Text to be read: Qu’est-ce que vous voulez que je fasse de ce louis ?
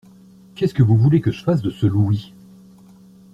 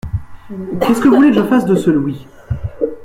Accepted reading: first